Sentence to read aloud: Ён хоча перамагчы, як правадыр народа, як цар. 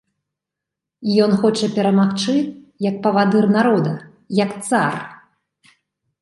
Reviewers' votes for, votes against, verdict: 0, 2, rejected